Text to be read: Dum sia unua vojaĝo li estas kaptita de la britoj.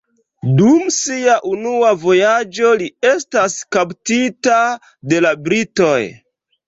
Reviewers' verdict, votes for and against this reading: rejected, 1, 2